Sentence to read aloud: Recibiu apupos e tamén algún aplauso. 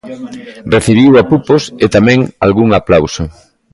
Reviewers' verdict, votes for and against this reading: accepted, 2, 0